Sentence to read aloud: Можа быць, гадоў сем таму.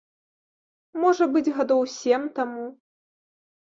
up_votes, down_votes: 2, 0